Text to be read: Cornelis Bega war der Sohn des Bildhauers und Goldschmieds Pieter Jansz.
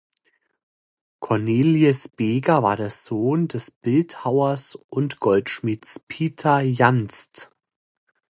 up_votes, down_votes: 0, 2